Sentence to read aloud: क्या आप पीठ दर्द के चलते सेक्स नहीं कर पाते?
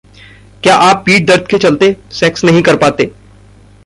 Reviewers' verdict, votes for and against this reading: accepted, 2, 0